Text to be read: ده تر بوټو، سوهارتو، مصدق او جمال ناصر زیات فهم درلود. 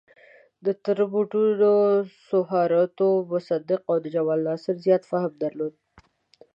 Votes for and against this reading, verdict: 1, 2, rejected